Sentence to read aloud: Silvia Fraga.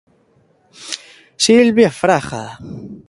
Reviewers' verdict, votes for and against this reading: accepted, 2, 0